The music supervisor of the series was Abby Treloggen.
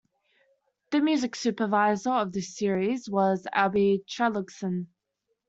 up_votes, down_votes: 0, 2